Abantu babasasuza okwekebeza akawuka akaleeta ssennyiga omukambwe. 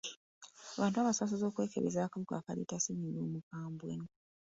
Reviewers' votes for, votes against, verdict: 1, 2, rejected